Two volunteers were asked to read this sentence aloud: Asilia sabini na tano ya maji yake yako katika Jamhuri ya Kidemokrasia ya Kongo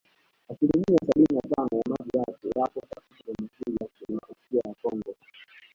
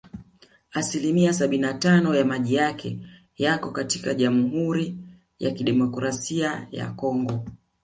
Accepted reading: second